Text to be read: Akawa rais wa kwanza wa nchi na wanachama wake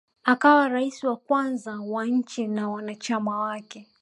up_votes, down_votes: 1, 2